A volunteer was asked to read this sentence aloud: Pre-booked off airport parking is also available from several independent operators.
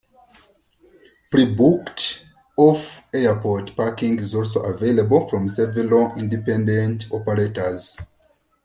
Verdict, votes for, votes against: accepted, 2, 0